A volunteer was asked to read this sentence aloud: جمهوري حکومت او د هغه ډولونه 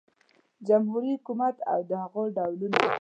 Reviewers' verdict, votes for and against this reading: rejected, 1, 2